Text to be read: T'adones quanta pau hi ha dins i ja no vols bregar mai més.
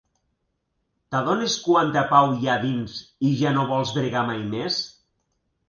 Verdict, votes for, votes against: rejected, 1, 2